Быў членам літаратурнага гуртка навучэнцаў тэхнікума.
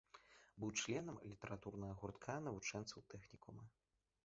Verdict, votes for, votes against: rejected, 0, 2